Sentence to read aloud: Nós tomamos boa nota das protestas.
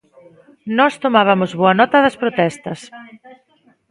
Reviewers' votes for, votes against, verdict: 0, 2, rejected